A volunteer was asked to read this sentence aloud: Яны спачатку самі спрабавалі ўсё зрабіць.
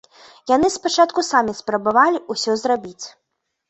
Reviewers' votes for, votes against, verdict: 2, 0, accepted